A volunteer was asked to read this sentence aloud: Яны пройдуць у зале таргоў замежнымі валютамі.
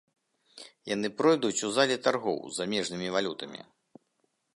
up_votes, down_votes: 0, 2